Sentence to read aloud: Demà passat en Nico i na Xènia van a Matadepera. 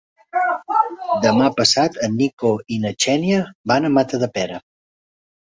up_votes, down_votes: 1, 2